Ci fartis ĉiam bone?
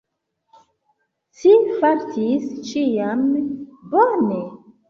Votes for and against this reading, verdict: 1, 2, rejected